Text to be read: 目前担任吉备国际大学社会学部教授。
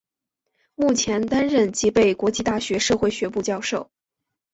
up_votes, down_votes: 2, 0